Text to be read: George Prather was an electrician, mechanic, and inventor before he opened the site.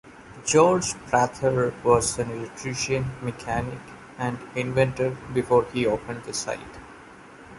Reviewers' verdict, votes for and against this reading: accepted, 2, 0